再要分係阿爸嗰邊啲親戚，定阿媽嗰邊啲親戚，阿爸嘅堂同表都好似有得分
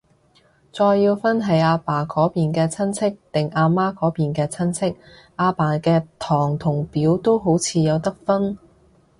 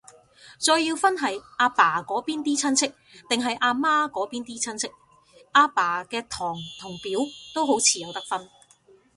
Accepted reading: second